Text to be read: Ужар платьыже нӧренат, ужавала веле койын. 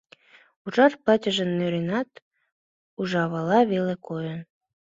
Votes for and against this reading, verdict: 2, 0, accepted